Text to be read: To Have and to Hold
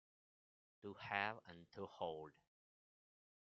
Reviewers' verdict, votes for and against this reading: rejected, 1, 2